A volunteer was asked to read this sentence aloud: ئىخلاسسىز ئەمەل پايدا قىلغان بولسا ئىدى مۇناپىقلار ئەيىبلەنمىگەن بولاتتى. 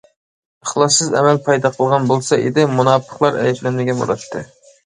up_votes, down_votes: 1, 2